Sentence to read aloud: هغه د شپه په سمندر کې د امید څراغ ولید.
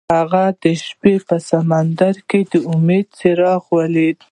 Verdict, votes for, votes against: rejected, 1, 2